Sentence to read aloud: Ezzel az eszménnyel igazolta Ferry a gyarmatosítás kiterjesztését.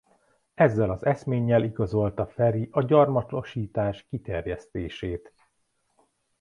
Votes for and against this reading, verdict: 0, 2, rejected